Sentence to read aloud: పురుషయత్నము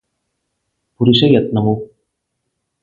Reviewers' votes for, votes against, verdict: 0, 8, rejected